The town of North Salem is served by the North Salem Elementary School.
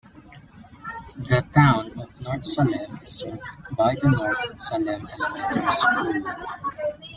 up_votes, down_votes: 2, 1